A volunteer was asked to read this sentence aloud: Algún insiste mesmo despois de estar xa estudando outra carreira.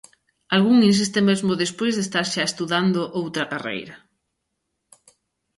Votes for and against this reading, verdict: 3, 0, accepted